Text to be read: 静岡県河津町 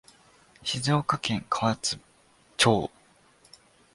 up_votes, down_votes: 2, 1